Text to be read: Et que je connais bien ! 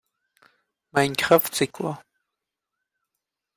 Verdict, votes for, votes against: rejected, 0, 2